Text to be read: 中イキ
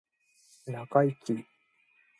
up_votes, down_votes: 1, 2